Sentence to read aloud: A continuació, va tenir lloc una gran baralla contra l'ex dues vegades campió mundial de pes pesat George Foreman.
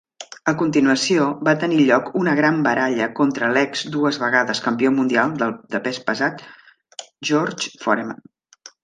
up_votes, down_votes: 0, 2